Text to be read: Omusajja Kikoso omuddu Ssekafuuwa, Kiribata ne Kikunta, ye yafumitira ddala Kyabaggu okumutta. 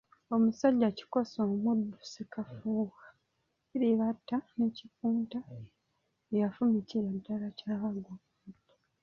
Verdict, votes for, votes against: rejected, 0, 2